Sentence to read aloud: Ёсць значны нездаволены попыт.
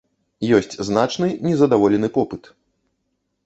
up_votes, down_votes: 1, 2